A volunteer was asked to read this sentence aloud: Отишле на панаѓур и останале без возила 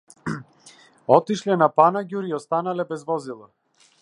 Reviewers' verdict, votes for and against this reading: accepted, 2, 0